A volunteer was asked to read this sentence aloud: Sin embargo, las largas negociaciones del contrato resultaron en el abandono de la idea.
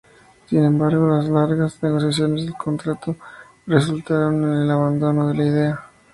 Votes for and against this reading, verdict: 2, 0, accepted